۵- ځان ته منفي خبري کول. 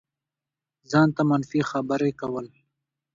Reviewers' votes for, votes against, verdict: 0, 2, rejected